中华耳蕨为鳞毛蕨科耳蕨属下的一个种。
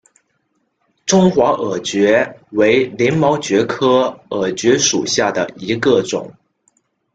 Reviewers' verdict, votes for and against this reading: accepted, 2, 0